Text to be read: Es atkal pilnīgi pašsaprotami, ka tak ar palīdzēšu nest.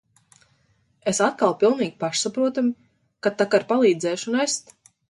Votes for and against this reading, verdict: 2, 0, accepted